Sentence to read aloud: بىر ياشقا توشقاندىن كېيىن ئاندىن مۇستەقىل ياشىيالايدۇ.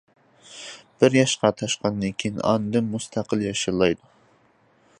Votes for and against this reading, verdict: 0, 2, rejected